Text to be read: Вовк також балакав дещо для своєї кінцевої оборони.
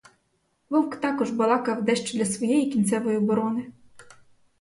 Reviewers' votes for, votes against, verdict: 4, 0, accepted